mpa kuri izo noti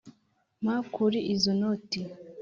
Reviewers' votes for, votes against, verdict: 3, 0, accepted